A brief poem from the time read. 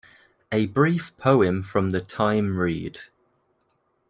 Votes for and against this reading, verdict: 2, 0, accepted